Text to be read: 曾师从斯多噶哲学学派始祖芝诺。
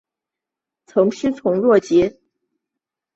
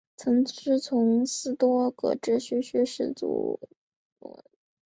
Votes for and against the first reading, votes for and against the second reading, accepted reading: 2, 1, 0, 3, first